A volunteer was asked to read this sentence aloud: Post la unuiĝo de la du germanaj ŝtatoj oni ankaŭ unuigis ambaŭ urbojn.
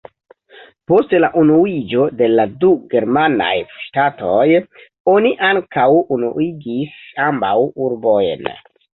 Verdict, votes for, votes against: rejected, 0, 2